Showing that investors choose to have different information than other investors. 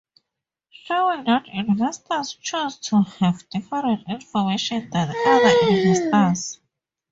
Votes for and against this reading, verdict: 0, 4, rejected